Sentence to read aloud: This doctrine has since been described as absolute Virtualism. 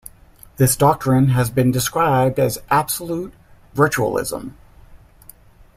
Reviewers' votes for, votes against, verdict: 1, 2, rejected